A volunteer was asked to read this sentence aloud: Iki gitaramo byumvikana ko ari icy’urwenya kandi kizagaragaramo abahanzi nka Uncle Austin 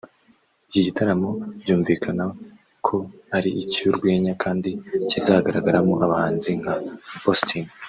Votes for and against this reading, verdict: 1, 2, rejected